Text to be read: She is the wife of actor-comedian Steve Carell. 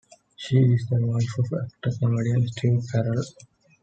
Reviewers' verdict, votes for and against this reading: rejected, 1, 2